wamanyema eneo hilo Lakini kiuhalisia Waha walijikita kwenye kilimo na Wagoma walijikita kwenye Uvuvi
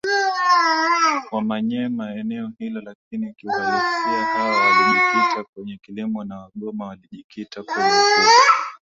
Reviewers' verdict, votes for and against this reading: rejected, 1, 2